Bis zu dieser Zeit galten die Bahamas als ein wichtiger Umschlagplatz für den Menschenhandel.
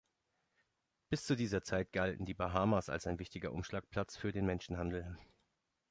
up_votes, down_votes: 2, 0